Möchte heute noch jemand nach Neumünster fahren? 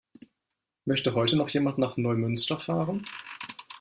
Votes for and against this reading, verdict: 2, 0, accepted